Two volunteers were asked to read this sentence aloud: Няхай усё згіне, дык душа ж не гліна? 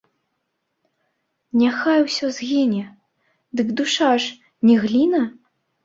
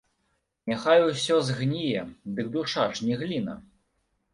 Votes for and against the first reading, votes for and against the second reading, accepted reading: 2, 1, 0, 2, first